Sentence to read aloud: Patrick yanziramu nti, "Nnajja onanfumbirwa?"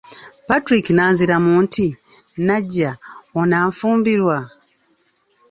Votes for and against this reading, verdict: 0, 2, rejected